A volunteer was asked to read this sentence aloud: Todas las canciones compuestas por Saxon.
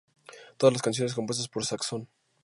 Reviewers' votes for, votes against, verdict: 2, 0, accepted